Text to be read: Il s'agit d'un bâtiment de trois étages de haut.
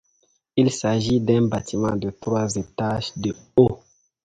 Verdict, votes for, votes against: accepted, 2, 0